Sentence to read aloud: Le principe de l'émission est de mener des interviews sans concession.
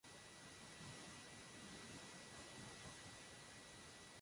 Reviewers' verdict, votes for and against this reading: rejected, 0, 2